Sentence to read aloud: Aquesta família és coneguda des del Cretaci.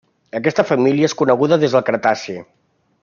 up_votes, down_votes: 3, 0